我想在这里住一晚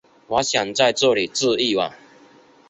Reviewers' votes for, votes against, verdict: 4, 0, accepted